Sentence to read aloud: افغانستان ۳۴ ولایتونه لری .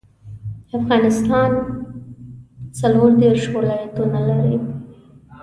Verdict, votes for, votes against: rejected, 0, 2